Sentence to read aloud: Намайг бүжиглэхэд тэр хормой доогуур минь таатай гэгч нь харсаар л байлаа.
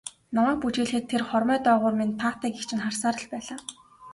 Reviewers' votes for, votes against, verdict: 4, 0, accepted